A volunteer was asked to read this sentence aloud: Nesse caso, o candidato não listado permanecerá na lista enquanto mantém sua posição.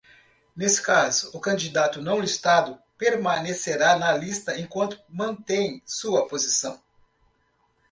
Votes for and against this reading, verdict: 2, 0, accepted